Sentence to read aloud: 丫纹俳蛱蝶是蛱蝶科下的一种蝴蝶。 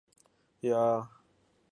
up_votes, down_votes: 0, 2